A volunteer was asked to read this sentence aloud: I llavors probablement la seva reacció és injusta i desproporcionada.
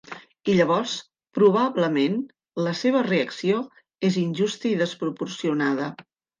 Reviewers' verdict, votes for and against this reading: accepted, 4, 0